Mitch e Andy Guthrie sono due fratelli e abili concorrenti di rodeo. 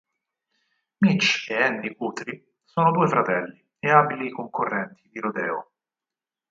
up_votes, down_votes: 4, 0